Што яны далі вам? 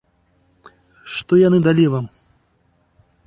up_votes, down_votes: 2, 0